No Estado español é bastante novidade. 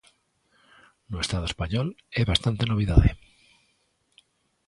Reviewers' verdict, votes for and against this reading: accepted, 2, 0